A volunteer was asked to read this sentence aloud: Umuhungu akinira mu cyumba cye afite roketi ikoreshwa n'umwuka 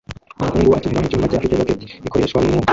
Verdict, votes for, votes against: rejected, 0, 2